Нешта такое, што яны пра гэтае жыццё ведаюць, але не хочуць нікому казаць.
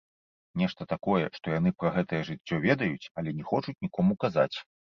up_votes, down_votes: 1, 2